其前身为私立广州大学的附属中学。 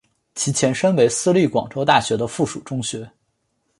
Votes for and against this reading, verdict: 2, 0, accepted